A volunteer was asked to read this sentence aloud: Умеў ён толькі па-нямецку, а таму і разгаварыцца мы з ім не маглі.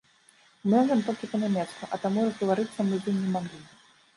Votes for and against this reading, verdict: 0, 2, rejected